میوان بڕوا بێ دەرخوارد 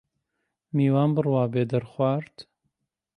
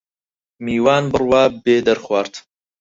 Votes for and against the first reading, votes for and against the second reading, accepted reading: 2, 0, 2, 4, first